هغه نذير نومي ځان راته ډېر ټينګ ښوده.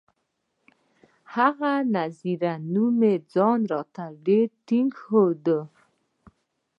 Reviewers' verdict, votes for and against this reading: accepted, 2, 1